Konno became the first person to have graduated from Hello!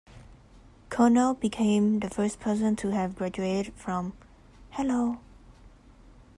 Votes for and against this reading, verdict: 2, 0, accepted